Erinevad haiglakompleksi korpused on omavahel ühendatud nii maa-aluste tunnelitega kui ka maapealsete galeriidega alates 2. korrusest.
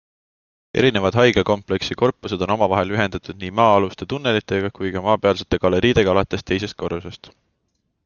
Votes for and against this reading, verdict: 0, 2, rejected